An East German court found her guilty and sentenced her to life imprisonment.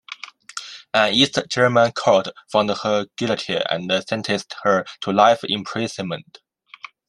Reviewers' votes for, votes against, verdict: 2, 0, accepted